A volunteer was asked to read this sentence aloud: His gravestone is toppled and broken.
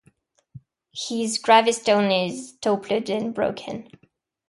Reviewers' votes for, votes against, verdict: 1, 2, rejected